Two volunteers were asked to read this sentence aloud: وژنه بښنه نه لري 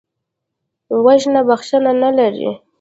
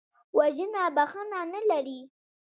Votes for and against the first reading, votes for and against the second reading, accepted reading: 1, 2, 2, 0, second